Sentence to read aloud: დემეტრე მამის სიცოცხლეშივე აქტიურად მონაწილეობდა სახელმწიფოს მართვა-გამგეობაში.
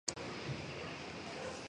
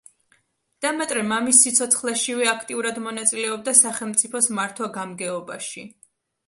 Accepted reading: second